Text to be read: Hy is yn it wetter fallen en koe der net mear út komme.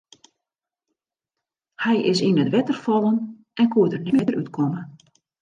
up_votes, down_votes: 0, 2